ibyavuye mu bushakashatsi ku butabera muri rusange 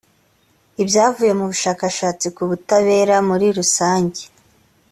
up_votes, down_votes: 2, 0